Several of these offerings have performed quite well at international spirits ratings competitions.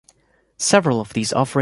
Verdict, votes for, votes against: rejected, 0, 2